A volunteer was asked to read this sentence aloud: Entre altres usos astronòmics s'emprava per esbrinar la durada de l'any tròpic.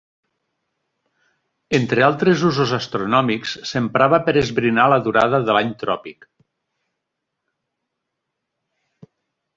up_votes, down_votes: 2, 0